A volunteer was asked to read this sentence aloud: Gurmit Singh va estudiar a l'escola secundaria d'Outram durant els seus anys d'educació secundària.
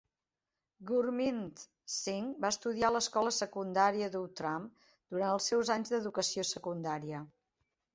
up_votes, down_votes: 2, 0